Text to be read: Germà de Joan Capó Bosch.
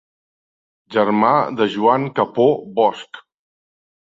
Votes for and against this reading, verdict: 2, 0, accepted